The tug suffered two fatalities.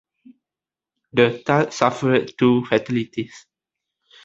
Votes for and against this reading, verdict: 1, 2, rejected